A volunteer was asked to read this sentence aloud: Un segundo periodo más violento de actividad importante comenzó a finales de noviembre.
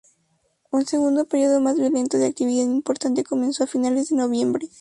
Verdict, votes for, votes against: rejected, 0, 2